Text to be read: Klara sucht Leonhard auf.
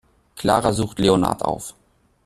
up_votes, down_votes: 1, 2